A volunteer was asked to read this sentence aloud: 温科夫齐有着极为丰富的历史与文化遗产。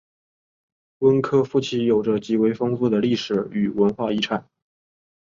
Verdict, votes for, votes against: accepted, 2, 1